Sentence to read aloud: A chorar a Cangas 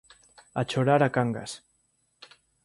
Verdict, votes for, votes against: accepted, 2, 0